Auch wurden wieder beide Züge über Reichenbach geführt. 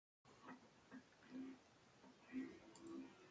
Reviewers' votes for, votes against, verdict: 0, 2, rejected